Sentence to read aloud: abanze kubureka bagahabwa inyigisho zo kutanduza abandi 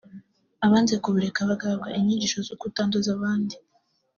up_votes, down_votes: 2, 0